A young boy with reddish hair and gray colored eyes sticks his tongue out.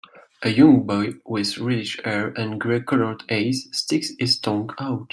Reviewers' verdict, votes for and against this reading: accepted, 2, 0